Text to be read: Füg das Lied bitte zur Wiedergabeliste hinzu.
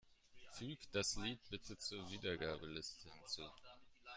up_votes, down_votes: 1, 2